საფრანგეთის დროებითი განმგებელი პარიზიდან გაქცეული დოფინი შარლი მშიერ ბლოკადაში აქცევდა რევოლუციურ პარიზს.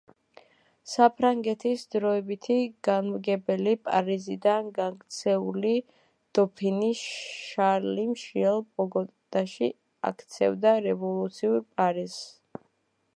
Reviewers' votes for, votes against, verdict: 0, 2, rejected